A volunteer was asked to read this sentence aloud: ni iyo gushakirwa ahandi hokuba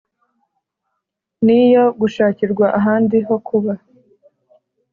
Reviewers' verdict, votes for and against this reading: accepted, 2, 0